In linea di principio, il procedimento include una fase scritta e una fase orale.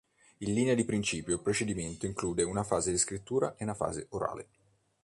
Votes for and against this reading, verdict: 1, 2, rejected